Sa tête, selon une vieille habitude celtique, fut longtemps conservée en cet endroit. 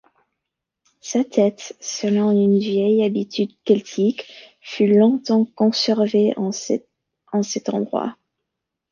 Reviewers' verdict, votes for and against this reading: rejected, 0, 2